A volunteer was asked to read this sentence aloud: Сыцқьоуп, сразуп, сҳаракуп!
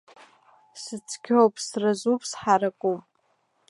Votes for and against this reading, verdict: 2, 0, accepted